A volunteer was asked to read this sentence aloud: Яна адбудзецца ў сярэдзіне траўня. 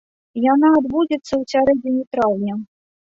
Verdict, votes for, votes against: rejected, 1, 2